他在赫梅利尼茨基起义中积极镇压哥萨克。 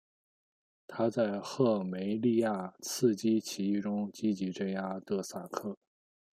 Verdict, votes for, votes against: rejected, 0, 3